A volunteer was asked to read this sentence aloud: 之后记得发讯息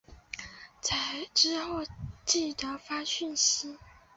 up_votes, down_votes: 3, 2